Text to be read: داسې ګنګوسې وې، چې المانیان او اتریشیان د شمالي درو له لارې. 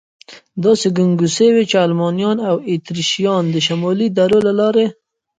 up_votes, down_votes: 2, 1